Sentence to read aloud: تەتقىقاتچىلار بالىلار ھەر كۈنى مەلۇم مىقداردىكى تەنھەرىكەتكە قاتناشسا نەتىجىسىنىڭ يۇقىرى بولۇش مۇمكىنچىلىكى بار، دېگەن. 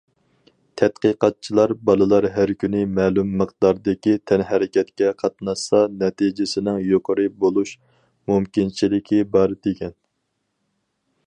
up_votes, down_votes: 4, 0